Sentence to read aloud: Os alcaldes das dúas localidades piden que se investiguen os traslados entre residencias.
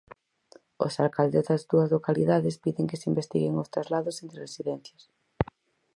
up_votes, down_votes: 4, 2